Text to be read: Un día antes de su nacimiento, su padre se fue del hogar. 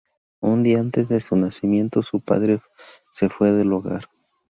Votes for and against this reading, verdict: 0, 2, rejected